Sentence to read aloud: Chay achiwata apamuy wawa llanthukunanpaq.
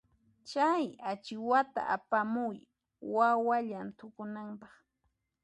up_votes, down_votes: 1, 2